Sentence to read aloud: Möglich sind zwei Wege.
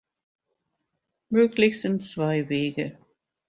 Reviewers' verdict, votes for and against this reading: accepted, 2, 0